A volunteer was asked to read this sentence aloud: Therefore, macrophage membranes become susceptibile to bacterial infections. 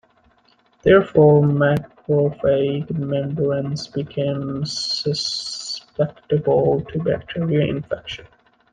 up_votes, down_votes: 0, 2